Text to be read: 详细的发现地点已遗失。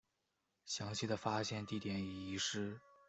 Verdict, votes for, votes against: accepted, 3, 0